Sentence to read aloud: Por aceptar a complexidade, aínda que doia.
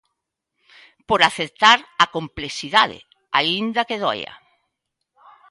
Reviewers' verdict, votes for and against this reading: rejected, 1, 2